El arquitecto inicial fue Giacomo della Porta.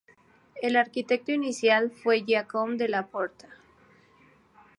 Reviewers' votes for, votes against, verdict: 4, 0, accepted